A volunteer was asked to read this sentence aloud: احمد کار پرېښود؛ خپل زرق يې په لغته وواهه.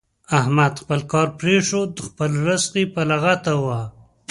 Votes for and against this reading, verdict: 1, 2, rejected